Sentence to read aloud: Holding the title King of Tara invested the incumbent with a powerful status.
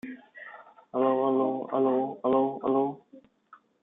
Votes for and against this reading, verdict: 0, 2, rejected